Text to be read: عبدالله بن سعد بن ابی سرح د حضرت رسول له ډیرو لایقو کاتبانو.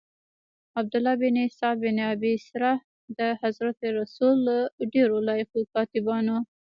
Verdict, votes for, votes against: rejected, 0, 2